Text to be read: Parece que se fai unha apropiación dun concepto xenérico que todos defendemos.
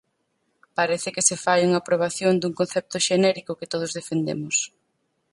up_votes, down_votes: 0, 4